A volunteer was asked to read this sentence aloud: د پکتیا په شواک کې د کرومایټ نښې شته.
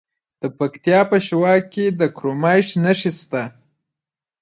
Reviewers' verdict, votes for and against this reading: accepted, 2, 1